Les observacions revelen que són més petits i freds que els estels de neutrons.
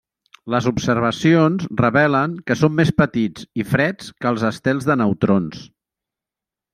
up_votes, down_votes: 3, 0